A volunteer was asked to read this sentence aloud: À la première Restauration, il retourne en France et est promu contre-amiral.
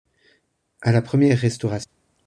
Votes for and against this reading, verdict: 0, 2, rejected